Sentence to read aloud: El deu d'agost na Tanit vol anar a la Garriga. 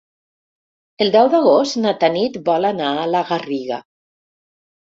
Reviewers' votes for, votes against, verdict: 3, 0, accepted